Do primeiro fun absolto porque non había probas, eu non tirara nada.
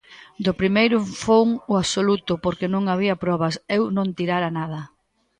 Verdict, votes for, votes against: rejected, 0, 2